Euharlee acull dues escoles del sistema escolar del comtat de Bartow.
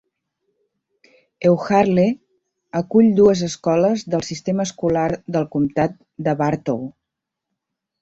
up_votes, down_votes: 2, 0